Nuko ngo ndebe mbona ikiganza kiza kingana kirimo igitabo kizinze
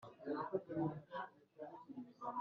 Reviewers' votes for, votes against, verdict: 0, 2, rejected